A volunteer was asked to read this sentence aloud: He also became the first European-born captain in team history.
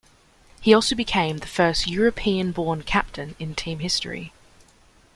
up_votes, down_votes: 2, 0